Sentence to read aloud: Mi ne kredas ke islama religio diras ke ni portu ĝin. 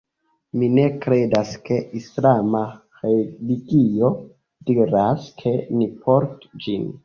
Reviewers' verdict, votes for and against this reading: accepted, 2, 1